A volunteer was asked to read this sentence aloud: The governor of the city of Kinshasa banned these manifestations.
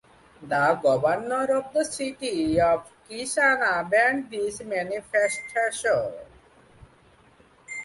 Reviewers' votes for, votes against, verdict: 0, 2, rejected